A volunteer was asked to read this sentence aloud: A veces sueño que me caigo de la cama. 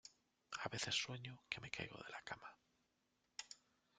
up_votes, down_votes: 1, 2